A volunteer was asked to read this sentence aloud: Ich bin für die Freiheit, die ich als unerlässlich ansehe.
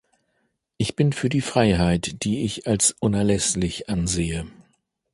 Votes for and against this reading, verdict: 2, 0, accepted